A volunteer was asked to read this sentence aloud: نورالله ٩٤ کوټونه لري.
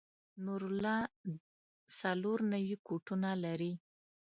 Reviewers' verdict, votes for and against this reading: rejected, 0, 2